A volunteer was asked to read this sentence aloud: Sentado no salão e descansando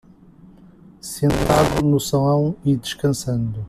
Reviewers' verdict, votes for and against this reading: rejected, 1, 2